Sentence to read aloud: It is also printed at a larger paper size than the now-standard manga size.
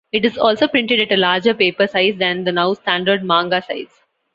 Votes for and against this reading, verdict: 2, 0, accepted